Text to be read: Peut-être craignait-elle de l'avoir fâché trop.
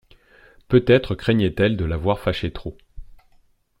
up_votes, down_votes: 2, 0